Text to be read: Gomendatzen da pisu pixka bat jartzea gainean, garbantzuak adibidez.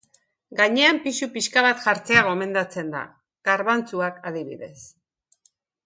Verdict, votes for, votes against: rejected, 0, 2